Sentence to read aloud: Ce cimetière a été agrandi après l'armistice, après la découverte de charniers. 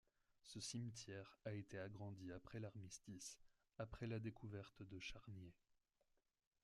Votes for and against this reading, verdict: 0, 2, rejected